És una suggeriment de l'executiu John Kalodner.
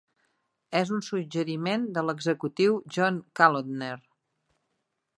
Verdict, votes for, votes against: accepted, 2, 0